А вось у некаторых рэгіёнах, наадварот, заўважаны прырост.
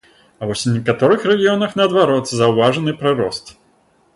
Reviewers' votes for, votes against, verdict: 3, 0, accepted